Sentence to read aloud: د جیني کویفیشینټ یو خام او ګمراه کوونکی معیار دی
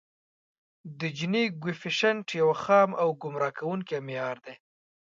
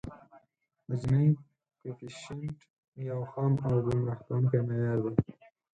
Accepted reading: first